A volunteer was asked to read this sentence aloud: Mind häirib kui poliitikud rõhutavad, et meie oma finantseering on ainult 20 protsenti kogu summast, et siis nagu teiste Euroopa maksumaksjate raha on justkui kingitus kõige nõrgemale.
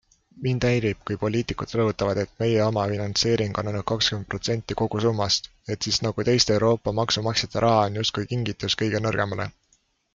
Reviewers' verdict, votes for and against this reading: rejected, 0, 2